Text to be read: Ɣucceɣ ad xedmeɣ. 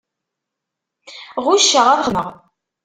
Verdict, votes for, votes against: rejected, 1, 2